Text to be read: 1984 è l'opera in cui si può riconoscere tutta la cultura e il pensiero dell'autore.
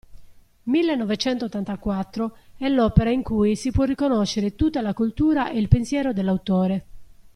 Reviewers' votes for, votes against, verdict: 0, 2, rejected